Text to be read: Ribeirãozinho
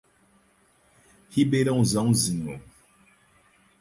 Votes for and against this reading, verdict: 0, 4, rejected